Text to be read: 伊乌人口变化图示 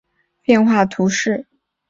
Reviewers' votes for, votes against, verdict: 0, 2, rejected